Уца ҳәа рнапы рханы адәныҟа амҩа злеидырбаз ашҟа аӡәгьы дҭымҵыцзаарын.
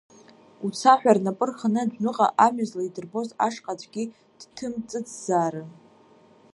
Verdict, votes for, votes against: rejected, 1, 3